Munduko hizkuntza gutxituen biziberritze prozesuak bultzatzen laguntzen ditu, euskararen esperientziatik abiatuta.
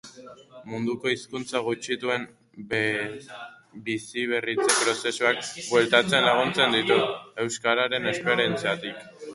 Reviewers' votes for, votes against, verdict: 2, 2, rejected